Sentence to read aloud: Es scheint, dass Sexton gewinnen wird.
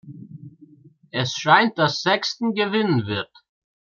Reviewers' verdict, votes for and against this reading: accepted, 2, 0